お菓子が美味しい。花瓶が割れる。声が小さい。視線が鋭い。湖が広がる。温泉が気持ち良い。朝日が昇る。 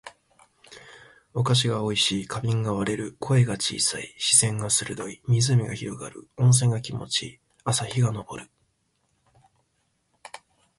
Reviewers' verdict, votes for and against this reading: accepted, 2, 0